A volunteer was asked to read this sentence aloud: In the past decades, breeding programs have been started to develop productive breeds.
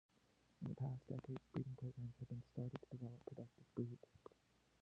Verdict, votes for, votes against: rejected, 1, 2